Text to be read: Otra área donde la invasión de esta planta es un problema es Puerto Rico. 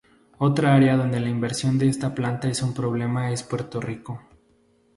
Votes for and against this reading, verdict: 0, 2, rejected